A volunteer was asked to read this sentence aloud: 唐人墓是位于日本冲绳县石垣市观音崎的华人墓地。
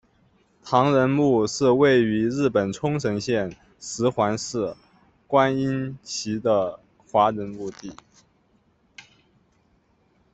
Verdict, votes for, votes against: rejected, 1, 2